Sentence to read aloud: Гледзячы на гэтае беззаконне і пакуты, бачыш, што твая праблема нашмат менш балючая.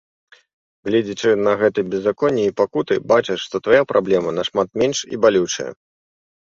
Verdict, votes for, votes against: rejected, 0, 2